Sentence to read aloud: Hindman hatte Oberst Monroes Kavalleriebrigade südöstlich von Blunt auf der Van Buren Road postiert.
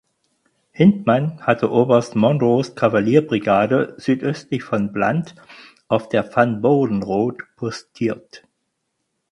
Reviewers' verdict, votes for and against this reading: accepted, 4, 2